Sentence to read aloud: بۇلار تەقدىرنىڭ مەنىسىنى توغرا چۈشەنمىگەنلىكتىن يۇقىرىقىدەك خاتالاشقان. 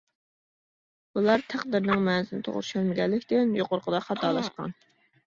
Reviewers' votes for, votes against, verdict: 1, 2, rejected